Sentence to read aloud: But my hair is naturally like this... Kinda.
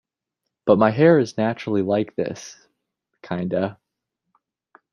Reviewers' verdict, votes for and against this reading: accepted, 2, 0